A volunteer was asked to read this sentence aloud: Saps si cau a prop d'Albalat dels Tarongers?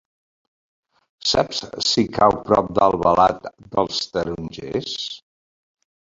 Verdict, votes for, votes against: rejected, 1, 2